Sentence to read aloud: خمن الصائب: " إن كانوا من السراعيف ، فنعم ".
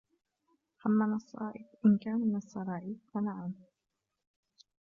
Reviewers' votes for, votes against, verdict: 0, 2, rejected